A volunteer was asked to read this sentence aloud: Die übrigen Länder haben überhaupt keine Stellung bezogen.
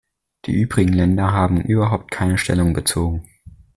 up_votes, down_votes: 2, 0